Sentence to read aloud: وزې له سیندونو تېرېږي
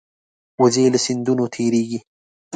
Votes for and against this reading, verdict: 2, 0, accepted